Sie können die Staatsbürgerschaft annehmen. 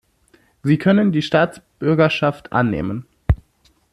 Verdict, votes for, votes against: accepted, 2, 0